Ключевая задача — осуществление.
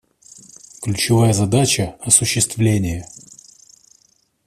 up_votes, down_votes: 2, 0